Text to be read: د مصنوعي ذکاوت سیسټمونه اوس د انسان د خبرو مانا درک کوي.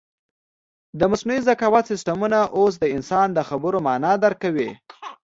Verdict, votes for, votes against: accepted, 2, 0